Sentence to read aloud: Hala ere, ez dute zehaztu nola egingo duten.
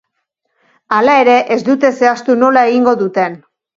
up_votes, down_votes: 4, 1